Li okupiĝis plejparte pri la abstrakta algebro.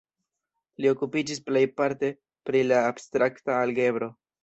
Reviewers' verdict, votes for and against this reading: accepted, 2, 0